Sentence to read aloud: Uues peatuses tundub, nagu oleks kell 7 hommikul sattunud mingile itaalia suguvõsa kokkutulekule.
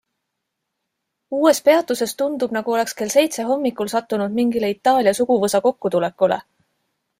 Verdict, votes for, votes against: rejected, 0, 2